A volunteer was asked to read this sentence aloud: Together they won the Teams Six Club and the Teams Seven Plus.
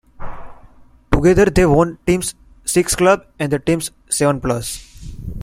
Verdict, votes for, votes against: rejected, 0, 2